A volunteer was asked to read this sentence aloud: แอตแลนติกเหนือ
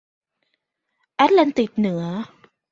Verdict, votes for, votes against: accepted, 2, 0